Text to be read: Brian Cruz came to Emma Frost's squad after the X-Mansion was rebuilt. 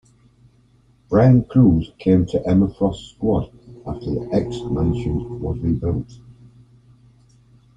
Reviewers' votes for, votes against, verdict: 1, 2, rejected